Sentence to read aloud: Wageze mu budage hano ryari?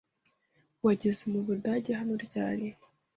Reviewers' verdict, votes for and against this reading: accepted, 3, 0